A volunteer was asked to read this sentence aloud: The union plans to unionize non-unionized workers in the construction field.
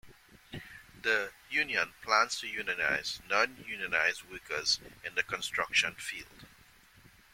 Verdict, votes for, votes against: accepted, 2, 0